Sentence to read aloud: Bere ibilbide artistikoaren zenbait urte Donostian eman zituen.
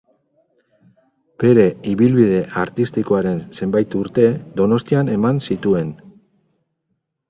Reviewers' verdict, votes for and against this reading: rejected, 0, 2